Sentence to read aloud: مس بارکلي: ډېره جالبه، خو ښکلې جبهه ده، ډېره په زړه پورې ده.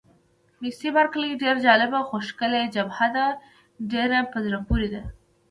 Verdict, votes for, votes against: rejected, 1, 2